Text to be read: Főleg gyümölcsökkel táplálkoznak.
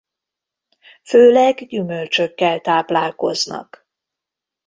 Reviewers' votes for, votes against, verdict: 2, 0, accepted